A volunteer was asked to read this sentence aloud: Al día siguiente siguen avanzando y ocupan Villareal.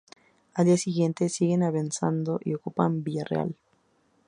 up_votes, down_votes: 0, 2